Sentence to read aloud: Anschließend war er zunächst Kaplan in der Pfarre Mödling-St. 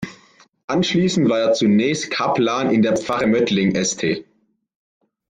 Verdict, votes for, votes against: rejected, 1, 2